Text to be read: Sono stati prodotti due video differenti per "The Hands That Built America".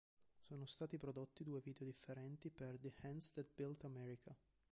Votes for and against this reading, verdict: 1, 2, rejected